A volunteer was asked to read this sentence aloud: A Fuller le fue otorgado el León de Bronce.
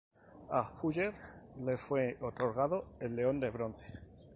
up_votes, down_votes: 4, 0